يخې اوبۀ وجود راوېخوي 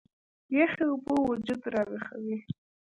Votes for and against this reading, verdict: 2, 0, accepted